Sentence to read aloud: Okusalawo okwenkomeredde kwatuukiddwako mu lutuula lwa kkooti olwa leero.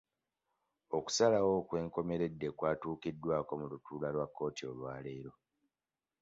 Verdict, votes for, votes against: accepted, 2, 0